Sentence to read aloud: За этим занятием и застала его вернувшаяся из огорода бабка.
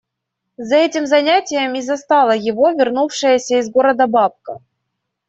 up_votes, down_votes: 1, 2